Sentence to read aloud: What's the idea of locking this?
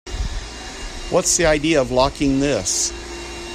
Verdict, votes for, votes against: rejected, 0, 2